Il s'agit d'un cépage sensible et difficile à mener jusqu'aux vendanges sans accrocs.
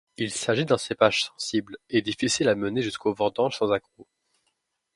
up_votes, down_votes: 1, 2